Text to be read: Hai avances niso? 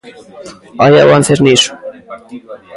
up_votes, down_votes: 1, 2